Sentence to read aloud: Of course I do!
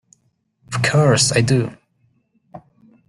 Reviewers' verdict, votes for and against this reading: accepted, 2, 1